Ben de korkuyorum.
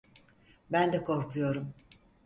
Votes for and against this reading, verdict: 4, 0, accepted